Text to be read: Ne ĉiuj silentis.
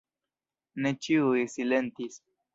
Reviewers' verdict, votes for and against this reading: accepted, 2, 0